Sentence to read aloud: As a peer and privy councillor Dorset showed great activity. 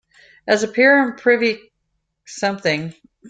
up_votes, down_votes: 0, 2